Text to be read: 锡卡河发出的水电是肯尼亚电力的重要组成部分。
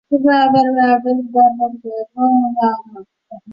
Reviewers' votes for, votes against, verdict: 0, 2, rejected